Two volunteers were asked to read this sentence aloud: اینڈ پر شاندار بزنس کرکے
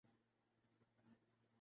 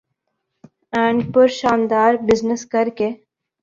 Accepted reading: second